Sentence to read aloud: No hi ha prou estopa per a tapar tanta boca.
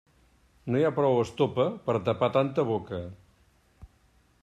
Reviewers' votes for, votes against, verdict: 2, 0, accepted